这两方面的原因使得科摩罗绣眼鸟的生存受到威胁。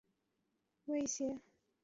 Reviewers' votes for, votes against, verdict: 0, 2, rejected